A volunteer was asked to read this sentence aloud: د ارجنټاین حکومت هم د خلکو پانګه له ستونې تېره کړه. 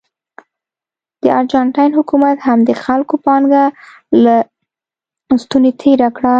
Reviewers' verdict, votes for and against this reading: accepted, 2, 0